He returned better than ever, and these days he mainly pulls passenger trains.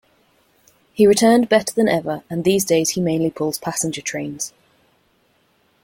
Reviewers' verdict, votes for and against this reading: accepted, 2, 0